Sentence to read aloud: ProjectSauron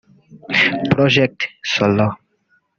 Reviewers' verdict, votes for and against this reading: rejected, 1, 3